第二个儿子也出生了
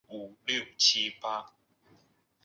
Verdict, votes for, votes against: rejected, 0, 2